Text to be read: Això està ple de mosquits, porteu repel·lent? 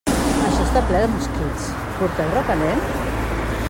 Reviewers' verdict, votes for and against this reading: rejected, 0, 2